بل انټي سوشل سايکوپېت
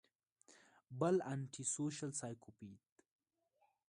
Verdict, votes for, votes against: accepted, 2, 0